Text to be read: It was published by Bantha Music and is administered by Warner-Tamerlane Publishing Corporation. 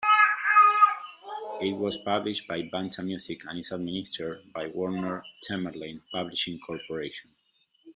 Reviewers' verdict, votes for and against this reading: rejected, 0, 2